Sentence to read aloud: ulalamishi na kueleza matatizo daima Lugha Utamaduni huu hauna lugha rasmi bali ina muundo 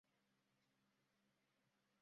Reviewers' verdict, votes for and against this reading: rejected, 0, 2